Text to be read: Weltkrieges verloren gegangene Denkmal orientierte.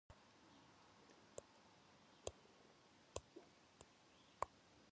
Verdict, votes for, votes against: rejected, 0, 2